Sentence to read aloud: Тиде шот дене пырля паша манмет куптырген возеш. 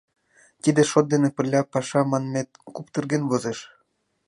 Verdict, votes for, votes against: accepted, 2, 0